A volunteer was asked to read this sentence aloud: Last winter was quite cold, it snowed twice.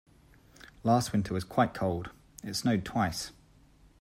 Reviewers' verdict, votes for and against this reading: accepted, 2, 0